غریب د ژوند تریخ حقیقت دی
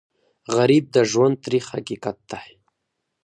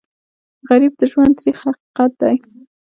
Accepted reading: first